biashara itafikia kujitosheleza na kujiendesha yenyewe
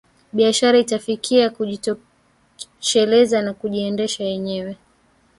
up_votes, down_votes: 1, 2